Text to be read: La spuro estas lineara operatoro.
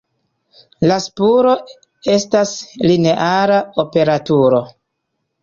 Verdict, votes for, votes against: rejected, 1, 2